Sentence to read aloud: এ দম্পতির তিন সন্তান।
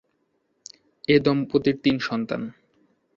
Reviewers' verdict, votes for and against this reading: accepted, 2, 0